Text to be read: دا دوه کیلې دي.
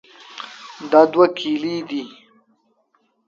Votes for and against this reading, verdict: 2, 0, accepted